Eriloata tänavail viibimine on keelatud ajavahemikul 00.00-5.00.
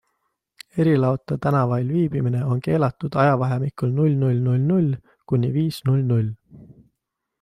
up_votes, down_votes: 0, 2